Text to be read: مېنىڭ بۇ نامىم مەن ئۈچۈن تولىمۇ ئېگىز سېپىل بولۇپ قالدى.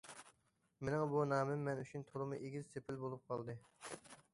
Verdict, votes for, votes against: accepted, 2, 0